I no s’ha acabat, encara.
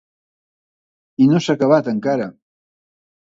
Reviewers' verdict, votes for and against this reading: accepted, 2, 0